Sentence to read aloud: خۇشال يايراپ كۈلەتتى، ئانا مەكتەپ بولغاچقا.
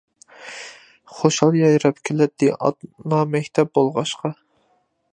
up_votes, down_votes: 0, 2